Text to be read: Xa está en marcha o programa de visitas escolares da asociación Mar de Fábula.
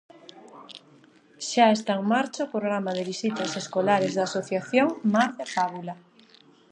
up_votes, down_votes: 0, 2